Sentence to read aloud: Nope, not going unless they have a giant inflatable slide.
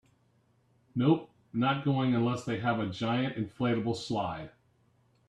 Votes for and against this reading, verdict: 3, 0, accepted